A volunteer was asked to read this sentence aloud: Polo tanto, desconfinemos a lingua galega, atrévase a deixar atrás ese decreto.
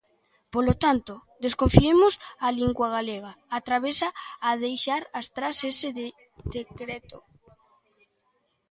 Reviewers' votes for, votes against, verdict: 0, 2, rejected